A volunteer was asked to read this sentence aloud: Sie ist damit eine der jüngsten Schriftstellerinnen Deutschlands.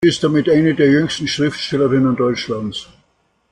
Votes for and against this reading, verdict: 0, 2, rejected